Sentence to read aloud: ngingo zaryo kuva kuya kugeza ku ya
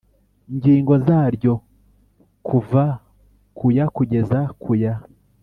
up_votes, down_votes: 2, 0